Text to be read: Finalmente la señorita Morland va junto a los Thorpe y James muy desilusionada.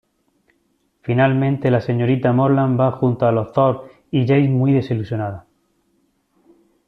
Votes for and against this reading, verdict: 1, 3, rejected